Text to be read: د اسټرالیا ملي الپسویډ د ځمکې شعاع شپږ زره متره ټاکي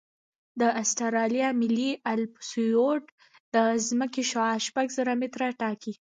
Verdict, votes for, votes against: rejected, 0, 2